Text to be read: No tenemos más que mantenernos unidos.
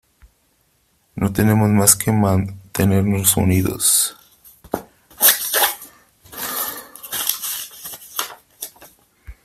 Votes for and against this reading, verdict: 1, 3, rejected